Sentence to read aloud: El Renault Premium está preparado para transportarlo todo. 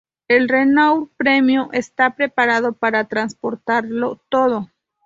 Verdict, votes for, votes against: accepted, 2, 0